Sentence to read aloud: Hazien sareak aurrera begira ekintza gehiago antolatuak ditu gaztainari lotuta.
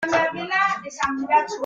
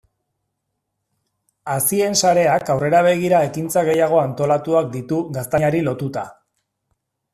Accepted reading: second